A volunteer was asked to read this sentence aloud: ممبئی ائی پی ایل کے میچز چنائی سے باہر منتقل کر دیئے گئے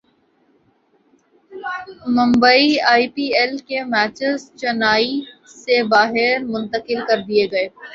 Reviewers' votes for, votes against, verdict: 1, 2, rejected